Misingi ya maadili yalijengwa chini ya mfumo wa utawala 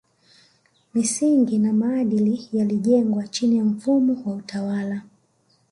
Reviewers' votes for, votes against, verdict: 2, 0, accepted